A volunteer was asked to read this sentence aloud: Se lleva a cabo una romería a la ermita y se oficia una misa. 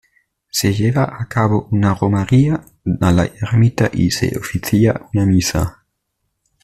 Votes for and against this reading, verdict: 1, 2, rejected